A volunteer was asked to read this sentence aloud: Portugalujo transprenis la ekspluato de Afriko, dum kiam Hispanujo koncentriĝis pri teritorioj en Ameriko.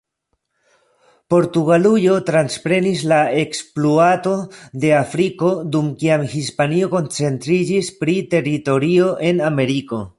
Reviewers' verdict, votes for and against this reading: rejected, 1, 2